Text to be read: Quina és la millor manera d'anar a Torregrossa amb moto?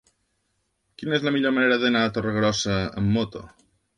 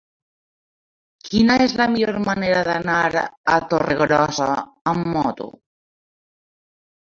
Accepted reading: first